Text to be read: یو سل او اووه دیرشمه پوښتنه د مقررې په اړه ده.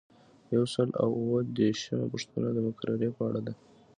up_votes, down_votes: 2, 0